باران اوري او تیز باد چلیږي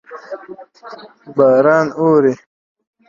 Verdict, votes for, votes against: rejected, 0, 2